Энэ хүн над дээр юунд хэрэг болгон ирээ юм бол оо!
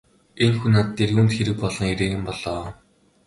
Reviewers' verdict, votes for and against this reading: accepted, 2, 0